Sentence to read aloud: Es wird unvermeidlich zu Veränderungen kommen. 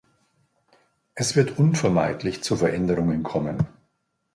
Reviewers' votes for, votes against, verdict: 2, 0, accepted